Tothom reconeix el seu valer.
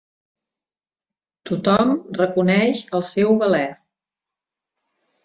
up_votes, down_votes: 2, 0